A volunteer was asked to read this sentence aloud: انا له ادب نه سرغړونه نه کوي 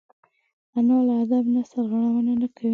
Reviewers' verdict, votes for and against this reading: rejected, 1, 2